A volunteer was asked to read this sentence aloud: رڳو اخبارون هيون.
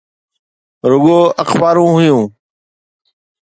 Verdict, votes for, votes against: accepted, 2, 0